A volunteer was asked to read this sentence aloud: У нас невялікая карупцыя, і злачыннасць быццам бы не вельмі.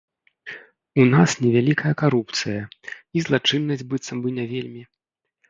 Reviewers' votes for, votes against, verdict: 1, 2, rejected